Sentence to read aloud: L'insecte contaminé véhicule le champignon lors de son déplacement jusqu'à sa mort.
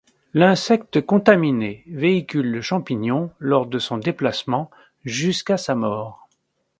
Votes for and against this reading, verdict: 3, 1, accepted